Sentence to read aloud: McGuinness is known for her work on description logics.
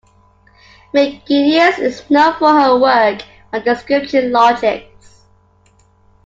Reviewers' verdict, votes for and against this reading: accepted, 2, 0